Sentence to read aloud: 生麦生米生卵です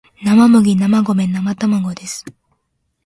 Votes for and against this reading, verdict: 2, 0, accepted